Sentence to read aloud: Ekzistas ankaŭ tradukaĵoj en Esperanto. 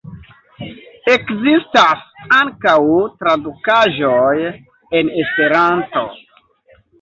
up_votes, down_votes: 2, 1